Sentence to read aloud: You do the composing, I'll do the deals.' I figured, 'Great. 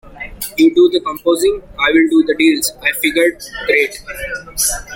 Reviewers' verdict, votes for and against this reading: rejected, 1, 2